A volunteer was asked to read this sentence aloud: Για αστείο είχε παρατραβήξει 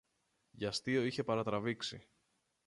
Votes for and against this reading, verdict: 0, 2, rejected